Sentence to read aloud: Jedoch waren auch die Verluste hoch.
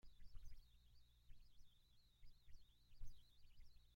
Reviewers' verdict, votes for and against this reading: rejected, 0, 2